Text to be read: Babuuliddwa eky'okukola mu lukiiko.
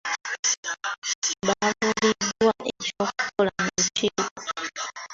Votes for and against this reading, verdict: 2, 0, accepted